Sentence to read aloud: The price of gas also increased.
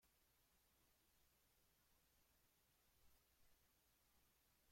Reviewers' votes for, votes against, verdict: 0, 2, rejected